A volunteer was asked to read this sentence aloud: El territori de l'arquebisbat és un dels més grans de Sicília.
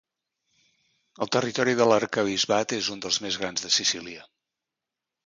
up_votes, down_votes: 2, 0